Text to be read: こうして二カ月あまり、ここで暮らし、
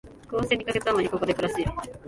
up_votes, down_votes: 0, 2